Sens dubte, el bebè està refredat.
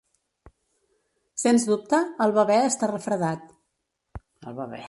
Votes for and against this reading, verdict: 0, 2, rejected